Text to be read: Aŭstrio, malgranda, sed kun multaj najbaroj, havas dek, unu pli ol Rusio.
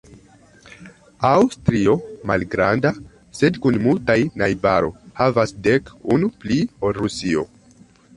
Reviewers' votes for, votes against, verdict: 3, 2, accepted